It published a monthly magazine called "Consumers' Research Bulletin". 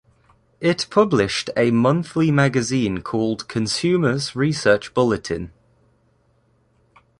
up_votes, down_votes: 2, 0